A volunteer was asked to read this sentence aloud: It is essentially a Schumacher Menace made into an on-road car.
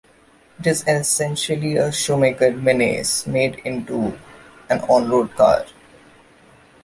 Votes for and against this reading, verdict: 0, 2, rejected